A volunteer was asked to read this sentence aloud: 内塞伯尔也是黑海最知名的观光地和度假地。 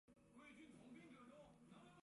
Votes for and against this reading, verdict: 1, 2, rejected